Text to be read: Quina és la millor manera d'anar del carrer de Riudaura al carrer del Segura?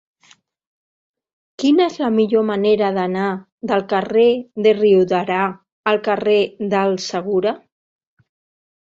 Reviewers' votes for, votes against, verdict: 0, 2, rejected